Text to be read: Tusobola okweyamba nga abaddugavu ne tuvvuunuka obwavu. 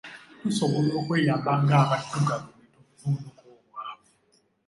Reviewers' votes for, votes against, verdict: 1, 2, rejected